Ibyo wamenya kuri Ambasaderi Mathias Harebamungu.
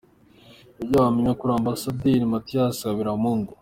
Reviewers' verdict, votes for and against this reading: accepted, 2, 0